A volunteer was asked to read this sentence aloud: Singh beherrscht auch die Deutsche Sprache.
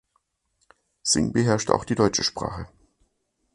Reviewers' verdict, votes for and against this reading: accepted, 2, 0